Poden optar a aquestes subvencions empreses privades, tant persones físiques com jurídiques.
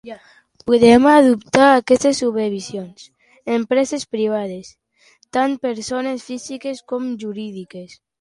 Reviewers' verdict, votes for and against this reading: rejected, 0, 2